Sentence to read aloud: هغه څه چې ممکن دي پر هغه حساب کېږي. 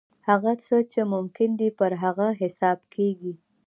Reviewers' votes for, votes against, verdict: 0, 2, rejected